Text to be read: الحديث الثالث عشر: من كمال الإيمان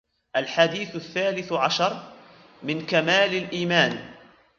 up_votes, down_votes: 1, 2